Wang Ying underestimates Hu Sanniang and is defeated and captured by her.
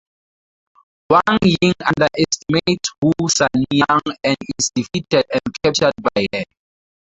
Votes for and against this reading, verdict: 0, 2, rejected